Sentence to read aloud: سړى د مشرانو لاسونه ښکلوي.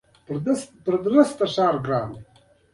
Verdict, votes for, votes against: accepted, 2, 1